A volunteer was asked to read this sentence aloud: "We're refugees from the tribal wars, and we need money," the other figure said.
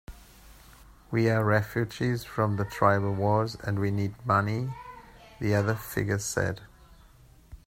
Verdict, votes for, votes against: accepted, 2, 0